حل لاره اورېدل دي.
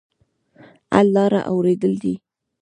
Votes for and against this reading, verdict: 1, 2, rejected